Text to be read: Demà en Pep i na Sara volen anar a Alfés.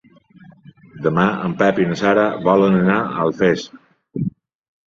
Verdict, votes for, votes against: accepted, 3, 0